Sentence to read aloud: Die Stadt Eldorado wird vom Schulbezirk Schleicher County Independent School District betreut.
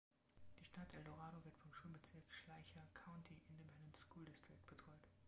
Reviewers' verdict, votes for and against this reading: rejected, 0, 2